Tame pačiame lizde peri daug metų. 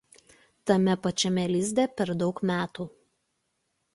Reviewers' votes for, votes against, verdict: 0, 2, rejected